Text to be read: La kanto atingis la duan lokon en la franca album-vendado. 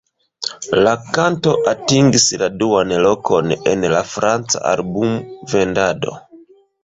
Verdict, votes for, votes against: rejected, 0, 2